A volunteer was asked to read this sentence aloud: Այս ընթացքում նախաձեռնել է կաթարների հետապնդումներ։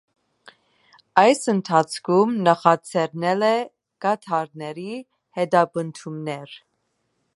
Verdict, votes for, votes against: rejected, 1, 2